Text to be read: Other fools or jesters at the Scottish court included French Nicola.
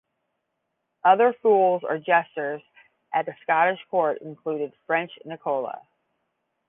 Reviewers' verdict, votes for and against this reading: accepted, 10, 0